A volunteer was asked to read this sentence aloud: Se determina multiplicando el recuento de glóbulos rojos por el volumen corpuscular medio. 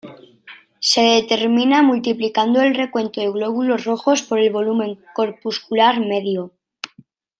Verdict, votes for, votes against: accepted, 2, 0